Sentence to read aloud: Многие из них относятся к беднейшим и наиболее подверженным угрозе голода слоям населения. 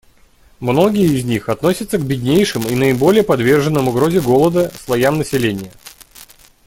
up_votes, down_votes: 2, 0